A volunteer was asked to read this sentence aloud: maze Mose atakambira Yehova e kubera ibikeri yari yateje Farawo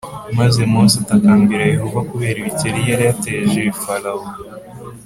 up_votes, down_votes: 3, 0